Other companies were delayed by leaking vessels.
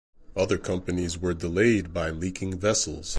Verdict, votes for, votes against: rejected, 0, 2